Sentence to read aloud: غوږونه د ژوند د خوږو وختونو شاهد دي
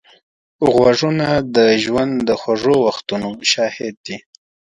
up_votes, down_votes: 2, 0